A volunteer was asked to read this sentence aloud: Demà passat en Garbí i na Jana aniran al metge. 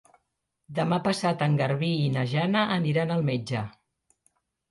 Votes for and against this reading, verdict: 3, 0, accepted